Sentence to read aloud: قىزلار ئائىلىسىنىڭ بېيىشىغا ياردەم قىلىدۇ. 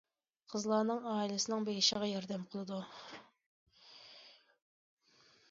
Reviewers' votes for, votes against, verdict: 0, 2, rejected